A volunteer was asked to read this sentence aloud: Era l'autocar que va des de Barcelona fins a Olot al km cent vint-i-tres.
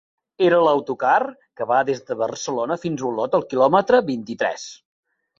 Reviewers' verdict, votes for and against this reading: rejected, 0, 3